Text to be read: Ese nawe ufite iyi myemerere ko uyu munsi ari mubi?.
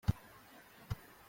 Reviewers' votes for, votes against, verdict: 0, 2, rejected